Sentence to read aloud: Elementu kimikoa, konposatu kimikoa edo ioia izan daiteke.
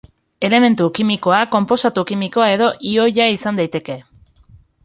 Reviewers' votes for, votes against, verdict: 2, 0, accepted